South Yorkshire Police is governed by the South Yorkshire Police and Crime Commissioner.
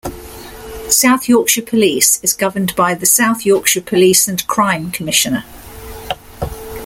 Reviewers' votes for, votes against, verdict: 2, 0, accepted